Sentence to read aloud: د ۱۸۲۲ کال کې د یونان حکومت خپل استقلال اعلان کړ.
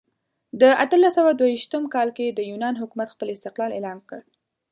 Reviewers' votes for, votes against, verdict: 0, 2, rejected